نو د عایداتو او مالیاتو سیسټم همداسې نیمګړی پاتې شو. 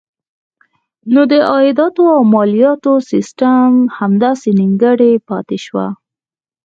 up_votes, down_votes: 4, 0